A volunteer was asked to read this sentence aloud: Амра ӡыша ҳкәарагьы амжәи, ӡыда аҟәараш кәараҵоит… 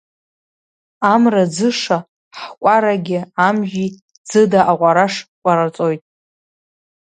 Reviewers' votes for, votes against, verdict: 1, 2, rejected